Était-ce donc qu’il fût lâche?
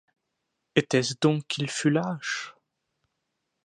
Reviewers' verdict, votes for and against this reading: accepted, 2, 0